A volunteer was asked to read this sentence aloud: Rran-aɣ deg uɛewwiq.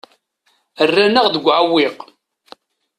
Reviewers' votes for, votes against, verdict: 2, 0, accepted